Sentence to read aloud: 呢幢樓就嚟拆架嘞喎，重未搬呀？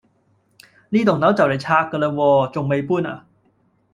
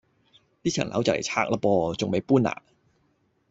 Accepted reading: first